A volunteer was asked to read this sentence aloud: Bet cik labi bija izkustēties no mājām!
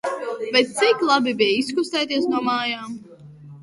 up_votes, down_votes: 1, 2